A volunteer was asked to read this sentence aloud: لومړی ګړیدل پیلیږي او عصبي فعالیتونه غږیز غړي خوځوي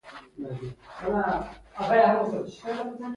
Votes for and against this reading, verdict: 2, 1, accepted